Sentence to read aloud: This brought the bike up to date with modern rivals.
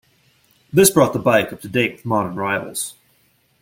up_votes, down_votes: 2, 0